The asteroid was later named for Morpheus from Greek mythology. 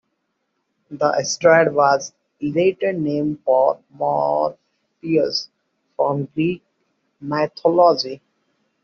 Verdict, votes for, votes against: rejected, 0, 2